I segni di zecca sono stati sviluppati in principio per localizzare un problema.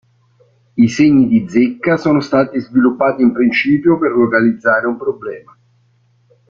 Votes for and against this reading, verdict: 2, 0, accepted